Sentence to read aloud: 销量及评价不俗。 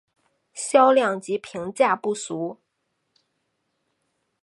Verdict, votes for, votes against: accepted, 4, 0